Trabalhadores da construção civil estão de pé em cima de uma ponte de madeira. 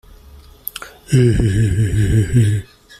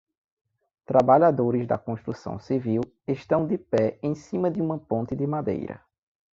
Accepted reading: second